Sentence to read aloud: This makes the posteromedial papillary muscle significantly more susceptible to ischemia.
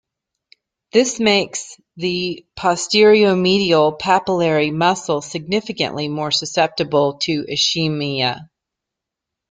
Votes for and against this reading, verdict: 1, 2, rejected